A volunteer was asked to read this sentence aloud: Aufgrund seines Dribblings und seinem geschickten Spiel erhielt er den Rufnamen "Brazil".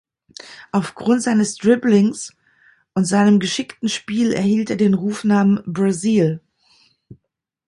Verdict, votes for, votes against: accepted, 2, 0